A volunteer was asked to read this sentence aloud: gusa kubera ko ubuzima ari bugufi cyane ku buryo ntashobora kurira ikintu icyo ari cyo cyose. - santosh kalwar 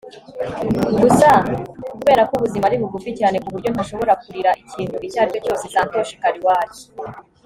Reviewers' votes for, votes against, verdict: 2, 0, accepted